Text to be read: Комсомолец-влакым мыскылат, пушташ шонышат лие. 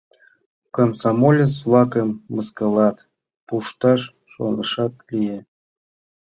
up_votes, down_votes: 2, 0